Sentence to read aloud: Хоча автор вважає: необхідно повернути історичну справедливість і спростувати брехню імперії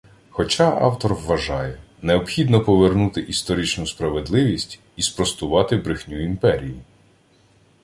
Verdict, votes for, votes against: accepted, 2, 0